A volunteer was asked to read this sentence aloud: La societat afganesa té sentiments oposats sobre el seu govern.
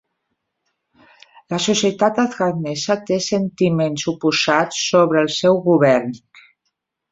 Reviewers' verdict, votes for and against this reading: accepted, 3, 0